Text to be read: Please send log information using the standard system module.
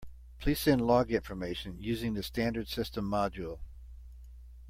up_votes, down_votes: 3, 0